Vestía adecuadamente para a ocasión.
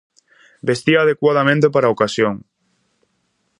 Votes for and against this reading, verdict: 2, 0, accepted